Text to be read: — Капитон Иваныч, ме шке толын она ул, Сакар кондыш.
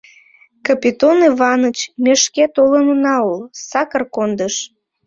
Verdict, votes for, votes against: rejected, 0, 2